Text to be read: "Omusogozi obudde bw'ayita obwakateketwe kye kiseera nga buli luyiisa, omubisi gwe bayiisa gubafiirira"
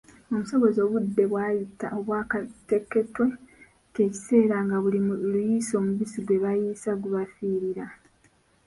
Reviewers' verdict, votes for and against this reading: accepted, 2, 0